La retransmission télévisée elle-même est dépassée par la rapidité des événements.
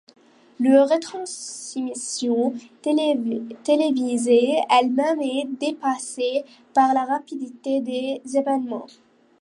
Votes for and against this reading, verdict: 1, 2, rejected